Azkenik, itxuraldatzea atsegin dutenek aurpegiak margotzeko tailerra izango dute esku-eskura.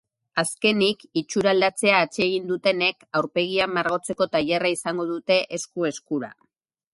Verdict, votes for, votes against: accepted, 4, 2